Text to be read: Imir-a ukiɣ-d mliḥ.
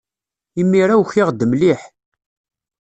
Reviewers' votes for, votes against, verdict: 2, 0, accepted